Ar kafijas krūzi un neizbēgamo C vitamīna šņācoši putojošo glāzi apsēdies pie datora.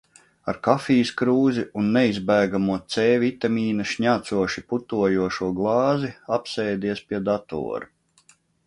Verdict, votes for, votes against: accepted, 2, 0